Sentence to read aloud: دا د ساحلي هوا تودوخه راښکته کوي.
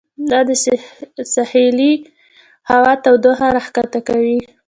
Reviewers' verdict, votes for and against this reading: rejected, 1, 2